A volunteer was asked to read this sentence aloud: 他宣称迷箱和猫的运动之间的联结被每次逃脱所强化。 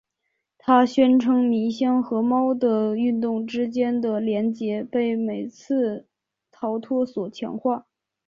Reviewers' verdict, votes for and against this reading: accepted, 3, 2